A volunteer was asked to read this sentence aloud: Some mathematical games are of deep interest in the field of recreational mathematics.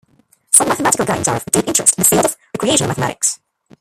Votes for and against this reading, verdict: 0, 2, rejected